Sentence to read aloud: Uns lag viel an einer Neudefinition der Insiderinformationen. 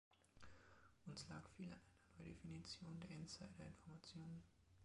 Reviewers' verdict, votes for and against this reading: accepted, 3, 0